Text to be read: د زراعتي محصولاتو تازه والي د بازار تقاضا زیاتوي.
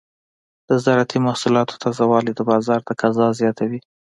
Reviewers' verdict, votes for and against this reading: accepted, 2, 0